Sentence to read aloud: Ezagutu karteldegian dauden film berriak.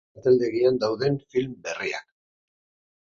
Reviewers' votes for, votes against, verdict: 0, 4, rejected